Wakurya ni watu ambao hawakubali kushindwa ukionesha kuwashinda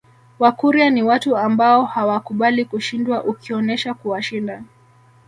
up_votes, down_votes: 0, 2